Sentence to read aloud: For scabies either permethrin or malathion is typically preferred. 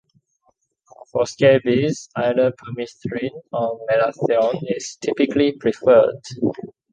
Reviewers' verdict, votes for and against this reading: accepted, 2, 0